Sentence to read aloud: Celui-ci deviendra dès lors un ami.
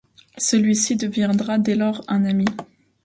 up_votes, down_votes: 2, 0